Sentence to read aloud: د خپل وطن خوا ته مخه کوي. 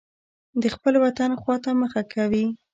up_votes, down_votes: 1, 2